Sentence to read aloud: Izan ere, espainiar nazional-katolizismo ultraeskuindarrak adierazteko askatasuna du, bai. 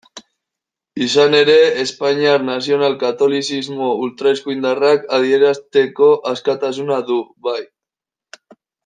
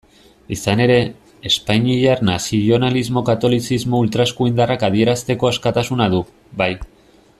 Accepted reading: first